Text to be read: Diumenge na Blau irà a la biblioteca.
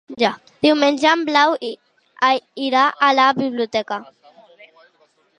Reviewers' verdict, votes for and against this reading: rejected, 0, 2